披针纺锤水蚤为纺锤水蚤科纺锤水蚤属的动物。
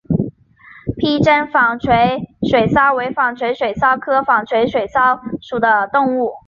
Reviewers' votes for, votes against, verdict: 2, 0, accepted